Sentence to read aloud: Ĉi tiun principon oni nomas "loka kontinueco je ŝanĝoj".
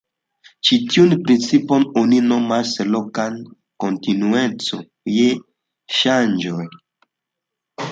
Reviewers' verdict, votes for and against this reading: accepted, 2, 0